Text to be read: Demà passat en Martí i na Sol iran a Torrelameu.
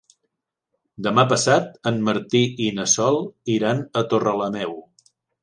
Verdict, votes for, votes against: accepted, 3, 0